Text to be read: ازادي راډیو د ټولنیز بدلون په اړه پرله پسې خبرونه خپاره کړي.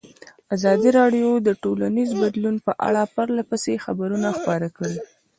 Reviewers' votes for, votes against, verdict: 0, 2, rejected